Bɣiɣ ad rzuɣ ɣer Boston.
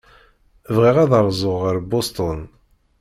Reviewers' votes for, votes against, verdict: 0, 2, rejected